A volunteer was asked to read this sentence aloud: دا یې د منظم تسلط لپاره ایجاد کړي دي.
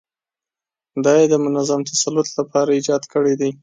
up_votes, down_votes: 2, 0